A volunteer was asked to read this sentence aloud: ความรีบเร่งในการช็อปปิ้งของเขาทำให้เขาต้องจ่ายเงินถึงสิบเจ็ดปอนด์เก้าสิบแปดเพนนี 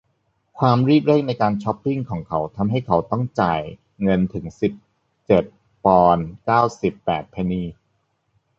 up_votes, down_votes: 2, 0